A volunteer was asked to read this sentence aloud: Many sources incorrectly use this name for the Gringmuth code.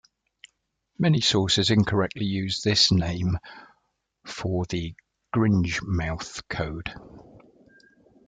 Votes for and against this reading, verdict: 0, 2, rejected